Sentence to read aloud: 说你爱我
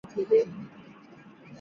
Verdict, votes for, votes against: rejected, 0, 2